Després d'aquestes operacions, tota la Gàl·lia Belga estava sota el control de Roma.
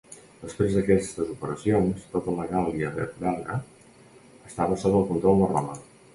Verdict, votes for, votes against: rejected, 0, 2